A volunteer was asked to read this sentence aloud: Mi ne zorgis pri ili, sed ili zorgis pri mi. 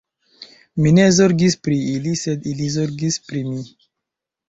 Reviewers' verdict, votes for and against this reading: rejected, 1, 2